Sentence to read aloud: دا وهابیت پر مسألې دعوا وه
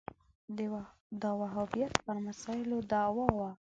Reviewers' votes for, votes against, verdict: 0, 2, rejected